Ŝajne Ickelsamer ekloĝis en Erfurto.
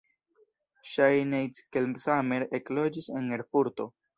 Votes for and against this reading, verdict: 0, 2, rejected